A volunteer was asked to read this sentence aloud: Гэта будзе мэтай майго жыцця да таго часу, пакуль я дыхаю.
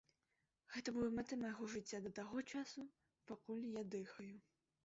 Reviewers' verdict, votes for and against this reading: rejected, 0, 2